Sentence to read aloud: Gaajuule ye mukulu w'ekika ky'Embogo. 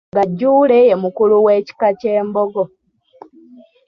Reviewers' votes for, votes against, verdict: 2, 1, accepted